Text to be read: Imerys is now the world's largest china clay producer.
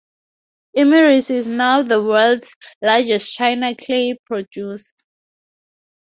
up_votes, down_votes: 0, 2